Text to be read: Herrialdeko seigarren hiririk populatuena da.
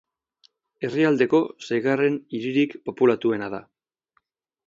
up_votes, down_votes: 16, 0